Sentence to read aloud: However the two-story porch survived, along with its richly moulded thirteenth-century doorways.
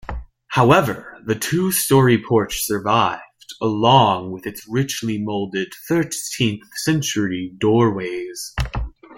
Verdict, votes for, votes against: rejected, 0, 2